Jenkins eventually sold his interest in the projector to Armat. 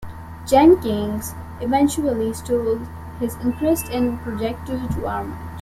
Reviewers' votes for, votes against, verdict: 0, 2, rejected